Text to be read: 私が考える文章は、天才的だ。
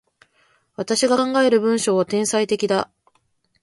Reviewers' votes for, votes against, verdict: 0, 2, rejected